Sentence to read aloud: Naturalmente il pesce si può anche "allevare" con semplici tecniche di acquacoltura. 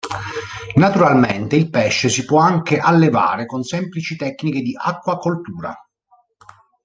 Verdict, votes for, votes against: accepted, 2, 0